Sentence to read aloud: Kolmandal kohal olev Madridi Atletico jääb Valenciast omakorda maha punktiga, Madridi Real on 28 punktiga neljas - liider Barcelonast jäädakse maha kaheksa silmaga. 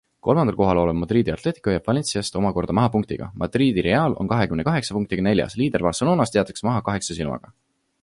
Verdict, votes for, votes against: rejected, 0, 2